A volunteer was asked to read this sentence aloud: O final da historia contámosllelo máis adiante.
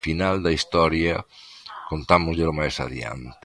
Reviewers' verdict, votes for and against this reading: accepted, 2, 1